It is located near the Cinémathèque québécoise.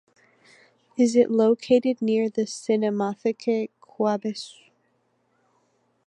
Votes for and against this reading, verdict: 0, 2, rejected